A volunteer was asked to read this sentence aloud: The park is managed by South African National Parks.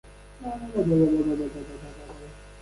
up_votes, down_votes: 0, 2